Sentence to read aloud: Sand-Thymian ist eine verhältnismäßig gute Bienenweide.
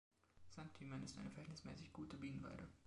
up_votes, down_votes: 0, 2